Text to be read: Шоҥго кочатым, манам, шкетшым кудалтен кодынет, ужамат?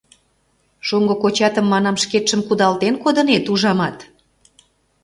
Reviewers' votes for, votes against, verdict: 2, 0, accepted